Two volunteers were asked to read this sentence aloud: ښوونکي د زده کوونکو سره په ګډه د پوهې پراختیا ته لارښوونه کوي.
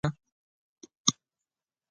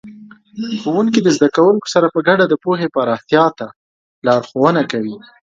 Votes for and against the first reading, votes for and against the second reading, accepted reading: 2, 3, 2, 0, second